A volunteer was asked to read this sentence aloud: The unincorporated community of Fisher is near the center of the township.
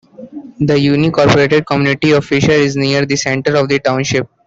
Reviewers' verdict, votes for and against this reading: accepted, 2, 1